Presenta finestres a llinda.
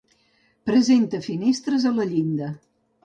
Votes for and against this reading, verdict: 1, 2, rejected